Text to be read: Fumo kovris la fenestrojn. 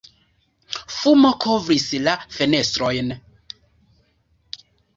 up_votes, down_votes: 2, 0